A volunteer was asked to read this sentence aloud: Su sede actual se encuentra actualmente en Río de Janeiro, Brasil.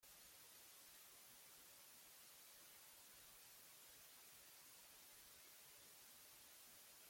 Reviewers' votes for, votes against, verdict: 0, 2, rejected